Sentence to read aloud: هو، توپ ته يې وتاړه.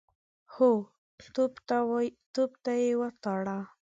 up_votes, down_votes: 6, 5